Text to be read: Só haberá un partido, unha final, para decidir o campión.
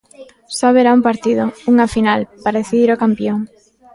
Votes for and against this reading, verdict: 3, 0, accepted